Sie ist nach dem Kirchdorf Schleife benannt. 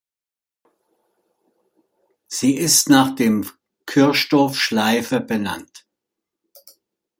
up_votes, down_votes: 1, 2